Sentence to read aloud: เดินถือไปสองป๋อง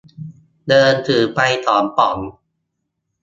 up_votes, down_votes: 2, 0